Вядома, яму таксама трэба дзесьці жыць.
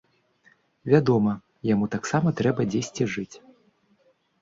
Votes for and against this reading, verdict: 2, 0, accepted